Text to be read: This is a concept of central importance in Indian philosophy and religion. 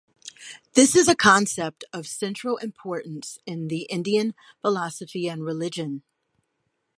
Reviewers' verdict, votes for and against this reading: rejected, 1, 2